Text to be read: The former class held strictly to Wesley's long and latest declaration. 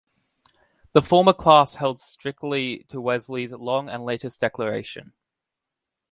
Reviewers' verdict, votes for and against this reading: accepted, 2, 0